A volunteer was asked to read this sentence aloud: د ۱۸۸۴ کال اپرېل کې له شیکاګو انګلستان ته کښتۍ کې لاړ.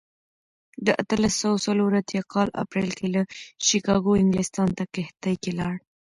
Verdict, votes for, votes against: rejected, 0, 2